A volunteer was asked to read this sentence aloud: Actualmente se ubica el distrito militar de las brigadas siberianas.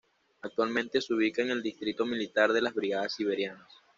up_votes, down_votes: 2, 0